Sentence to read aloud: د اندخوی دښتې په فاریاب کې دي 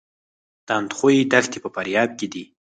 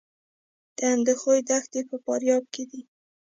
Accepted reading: first